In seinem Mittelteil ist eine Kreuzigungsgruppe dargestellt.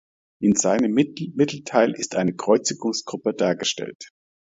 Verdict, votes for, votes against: rejected, 0, 2